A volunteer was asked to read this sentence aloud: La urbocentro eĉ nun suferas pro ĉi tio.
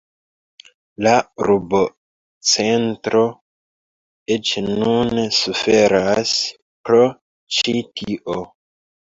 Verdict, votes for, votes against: rejected, 0, 2